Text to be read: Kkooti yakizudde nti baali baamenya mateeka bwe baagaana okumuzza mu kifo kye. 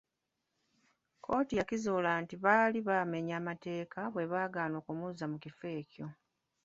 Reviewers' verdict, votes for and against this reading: rejected, 1, 2